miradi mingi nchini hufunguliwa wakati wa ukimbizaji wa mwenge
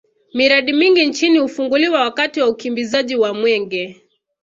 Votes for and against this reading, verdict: 2, 0, accepted